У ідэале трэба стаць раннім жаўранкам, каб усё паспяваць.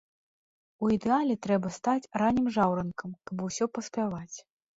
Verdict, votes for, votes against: accepted, 2, 0